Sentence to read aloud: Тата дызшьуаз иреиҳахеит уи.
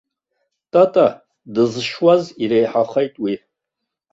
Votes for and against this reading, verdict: 2, 0, accepted